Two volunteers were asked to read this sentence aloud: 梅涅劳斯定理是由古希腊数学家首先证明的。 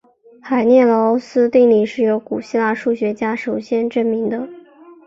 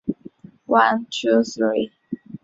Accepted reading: first